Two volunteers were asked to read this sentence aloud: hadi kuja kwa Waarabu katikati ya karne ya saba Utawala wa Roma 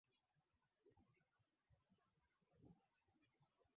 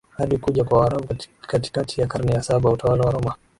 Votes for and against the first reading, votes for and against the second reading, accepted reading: 0, 3, 5, 0, second